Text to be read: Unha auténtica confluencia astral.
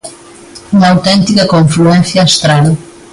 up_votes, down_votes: 2, 0